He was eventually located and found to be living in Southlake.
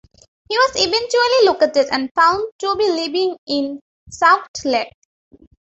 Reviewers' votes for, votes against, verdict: 0, 2, rejected